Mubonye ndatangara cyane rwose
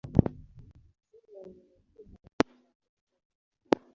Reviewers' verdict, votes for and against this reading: rejected, 0, 2